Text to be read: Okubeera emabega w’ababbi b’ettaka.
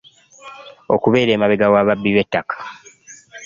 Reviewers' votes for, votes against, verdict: 2, 0, accepted